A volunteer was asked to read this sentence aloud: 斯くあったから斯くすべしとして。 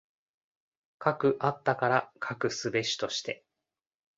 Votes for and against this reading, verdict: 2, 0, accepted